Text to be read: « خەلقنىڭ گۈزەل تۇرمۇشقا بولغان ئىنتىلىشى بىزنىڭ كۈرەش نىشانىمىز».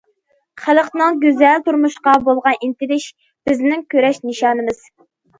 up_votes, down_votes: 2, 0